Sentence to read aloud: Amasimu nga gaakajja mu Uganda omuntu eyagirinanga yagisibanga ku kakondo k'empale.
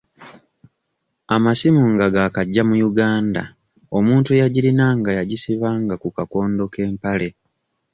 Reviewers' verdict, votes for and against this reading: accepted, 2, 0